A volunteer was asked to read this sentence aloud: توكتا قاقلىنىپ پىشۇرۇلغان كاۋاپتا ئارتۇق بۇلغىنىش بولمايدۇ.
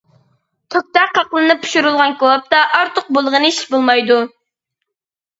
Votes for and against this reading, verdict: 1, 2, rejected